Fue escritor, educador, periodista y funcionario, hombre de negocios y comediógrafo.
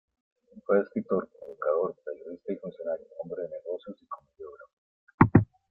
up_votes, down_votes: 2, 0